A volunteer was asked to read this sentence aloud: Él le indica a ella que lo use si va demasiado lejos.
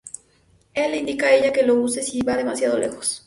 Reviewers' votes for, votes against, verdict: 4, 0, accepted